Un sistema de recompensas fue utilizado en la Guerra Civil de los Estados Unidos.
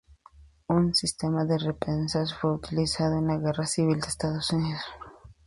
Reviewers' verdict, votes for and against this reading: accepted, 2, 0